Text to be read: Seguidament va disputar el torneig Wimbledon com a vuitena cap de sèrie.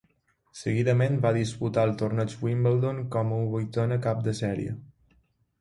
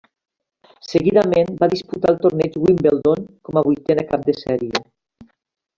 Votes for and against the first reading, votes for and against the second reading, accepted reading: 2, 0, 1, 2, first